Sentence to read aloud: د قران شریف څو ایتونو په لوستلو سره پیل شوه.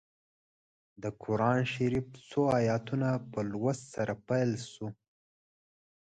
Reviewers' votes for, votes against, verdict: 2, 3, rejected